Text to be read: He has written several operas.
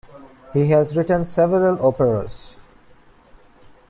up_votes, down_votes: 2, 0